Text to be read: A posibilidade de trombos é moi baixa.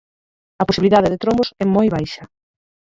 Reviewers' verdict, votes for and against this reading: rejected, 0, 4